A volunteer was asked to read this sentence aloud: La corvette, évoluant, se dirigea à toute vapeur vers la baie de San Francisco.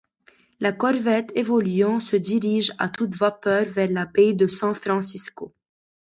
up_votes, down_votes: 0, 2